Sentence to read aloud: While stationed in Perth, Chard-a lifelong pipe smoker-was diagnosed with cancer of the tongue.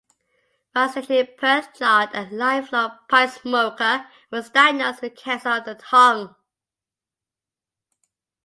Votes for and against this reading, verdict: 2, 0, accepted